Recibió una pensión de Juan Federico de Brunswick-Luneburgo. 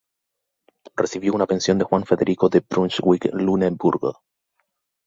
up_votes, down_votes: 0, 2